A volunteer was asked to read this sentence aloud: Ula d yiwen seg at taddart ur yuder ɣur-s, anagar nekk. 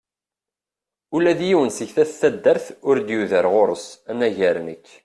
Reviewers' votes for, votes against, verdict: 2, 0, accepted